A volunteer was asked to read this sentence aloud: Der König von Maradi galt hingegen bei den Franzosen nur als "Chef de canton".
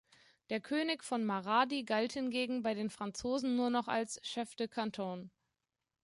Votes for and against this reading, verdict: 1, 2, rejected